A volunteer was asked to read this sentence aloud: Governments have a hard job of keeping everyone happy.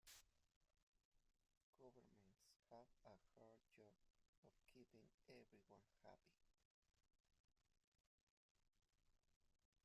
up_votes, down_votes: 0, 2